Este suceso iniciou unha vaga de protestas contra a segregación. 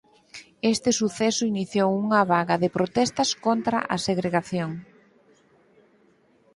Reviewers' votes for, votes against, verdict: 6, 0, accepted